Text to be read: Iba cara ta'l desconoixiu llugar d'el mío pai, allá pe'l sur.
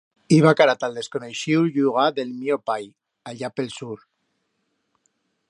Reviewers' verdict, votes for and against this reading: accepted, 2, 0